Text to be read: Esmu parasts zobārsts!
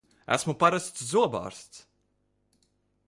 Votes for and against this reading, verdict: 2, 0, accepted